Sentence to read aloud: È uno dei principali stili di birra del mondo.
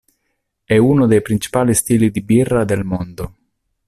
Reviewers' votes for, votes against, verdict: 2, 0, accepted